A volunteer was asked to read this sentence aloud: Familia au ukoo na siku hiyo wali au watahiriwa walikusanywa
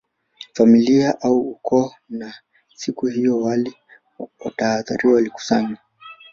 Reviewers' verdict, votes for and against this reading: rejected, 0, 2